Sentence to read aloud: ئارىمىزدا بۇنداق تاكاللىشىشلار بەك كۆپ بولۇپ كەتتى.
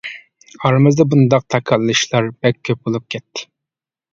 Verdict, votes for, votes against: accepted, 2, 0